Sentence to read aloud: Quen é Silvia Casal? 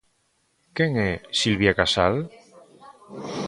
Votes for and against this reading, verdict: 0, 2, rejected